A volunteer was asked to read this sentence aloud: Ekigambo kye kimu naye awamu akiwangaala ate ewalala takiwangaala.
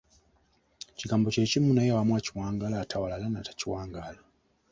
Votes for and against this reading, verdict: 1, 2, rejected